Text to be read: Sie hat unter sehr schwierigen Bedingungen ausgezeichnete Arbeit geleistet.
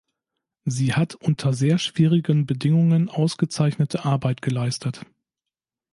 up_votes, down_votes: 2, 0